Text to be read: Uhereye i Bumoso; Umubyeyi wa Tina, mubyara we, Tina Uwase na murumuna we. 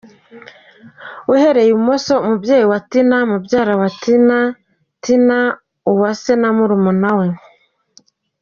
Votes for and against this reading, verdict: 2, 1, accepted